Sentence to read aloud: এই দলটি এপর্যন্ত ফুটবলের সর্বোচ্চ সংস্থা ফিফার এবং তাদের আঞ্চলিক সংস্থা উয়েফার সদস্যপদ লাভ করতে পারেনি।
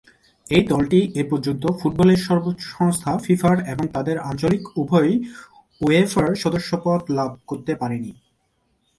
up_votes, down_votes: 1, 2